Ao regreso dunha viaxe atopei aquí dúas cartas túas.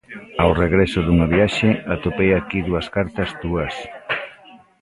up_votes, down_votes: 1, 2